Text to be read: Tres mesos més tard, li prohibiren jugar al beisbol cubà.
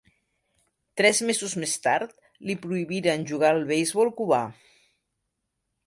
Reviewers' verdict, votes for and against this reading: accepted, 2, 0